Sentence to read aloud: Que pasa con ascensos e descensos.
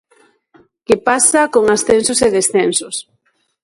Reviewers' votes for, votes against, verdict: 2, 0, accepted